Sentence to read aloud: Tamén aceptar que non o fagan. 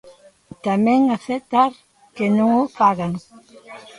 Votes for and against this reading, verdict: 2, 0, accepted